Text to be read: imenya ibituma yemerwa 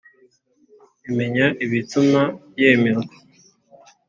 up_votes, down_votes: 2, 0